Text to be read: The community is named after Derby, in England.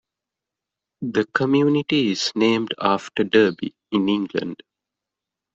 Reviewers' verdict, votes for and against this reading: accepted, 2, 0